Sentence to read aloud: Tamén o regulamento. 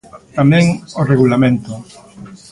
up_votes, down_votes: 1, 2